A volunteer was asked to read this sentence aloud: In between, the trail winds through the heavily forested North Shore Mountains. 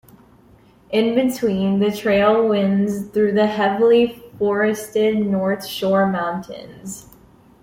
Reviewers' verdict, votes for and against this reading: rejected, 0, 2